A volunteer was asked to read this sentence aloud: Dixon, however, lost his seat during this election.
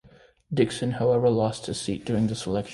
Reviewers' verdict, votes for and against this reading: accepted, 2, 1